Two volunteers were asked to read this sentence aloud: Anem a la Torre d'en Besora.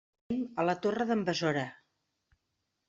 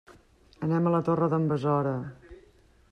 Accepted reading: second